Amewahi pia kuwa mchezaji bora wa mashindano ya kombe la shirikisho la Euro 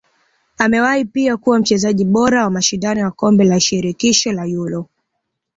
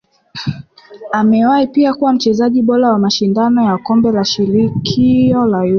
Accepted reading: first